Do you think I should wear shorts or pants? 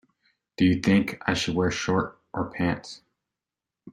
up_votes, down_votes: 0, 2